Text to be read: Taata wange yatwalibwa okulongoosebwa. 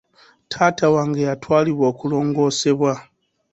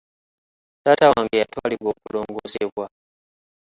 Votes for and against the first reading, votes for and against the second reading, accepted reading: 2, 0, 0, 2, first